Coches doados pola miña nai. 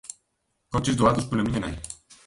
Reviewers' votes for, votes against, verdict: 1, 2, rejected